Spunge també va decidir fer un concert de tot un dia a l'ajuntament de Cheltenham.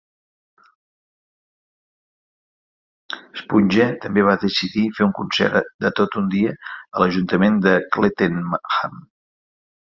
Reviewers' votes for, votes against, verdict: 1, 2, rejected